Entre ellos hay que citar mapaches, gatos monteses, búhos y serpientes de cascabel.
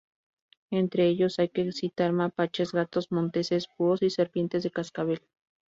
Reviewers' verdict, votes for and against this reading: rejected, 0, 2